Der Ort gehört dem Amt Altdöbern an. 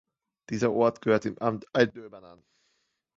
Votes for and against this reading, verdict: 0, 2, rejected